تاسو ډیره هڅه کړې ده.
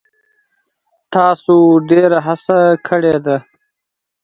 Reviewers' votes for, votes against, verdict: 2, 1, accepted